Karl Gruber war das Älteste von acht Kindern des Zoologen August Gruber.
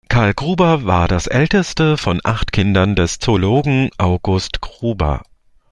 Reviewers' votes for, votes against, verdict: 2, 0, accepted